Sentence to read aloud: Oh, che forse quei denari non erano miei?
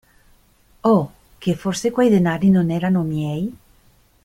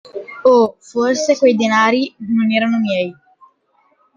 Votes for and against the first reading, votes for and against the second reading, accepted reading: 2, 0, 0, 2, first